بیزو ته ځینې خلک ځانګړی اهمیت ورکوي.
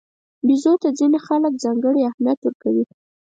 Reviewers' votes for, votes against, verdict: 4, 0, accepted